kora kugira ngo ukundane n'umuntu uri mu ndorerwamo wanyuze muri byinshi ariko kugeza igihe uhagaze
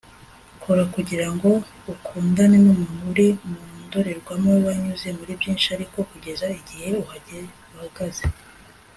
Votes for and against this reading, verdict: 0, 2, rejected